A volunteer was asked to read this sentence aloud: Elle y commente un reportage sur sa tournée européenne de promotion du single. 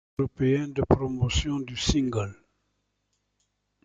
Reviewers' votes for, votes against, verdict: 0, 2, rejected